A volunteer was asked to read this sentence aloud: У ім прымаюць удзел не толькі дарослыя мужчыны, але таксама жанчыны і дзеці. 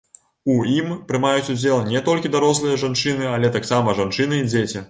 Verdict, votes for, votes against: rejected, 0, 2